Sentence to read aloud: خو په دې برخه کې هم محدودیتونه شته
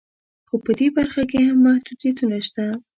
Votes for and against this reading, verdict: 0, 2, rejected